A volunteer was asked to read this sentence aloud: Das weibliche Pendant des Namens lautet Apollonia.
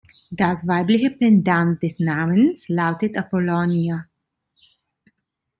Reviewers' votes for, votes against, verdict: 2, 0, accepted